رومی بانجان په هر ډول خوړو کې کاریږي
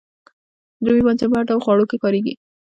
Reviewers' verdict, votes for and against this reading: rejected, 0, 2